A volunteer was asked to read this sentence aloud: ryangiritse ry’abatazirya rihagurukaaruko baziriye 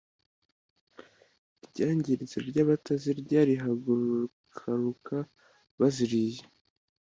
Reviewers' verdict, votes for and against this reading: rejected, 1, 2